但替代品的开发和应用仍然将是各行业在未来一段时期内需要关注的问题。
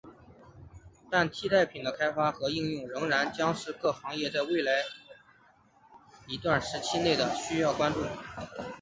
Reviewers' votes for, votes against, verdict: 7, 1, accepted